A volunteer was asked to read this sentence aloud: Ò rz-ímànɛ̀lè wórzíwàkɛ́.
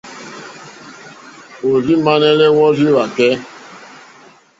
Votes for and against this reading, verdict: 1, 2, rejected